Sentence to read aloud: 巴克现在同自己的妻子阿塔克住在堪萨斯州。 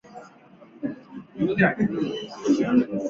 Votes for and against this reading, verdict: 1, 2, rejected